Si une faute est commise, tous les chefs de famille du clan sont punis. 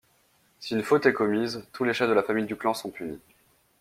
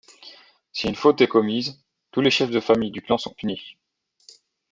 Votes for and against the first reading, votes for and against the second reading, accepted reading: 1, 2, 2, 0, second